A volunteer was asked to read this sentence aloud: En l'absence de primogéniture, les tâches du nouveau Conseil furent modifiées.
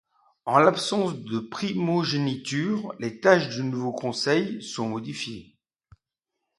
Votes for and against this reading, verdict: 1, 2, rejected